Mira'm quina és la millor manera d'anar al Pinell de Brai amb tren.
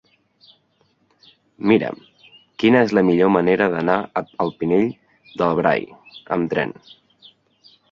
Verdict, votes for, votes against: accepted, 2, 1